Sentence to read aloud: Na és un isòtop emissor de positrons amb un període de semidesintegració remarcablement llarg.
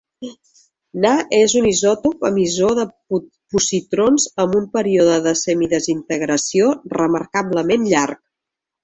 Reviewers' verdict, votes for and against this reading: rejected, 0, 2